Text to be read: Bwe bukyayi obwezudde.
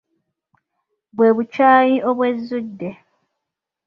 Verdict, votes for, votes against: accepted, 2, 0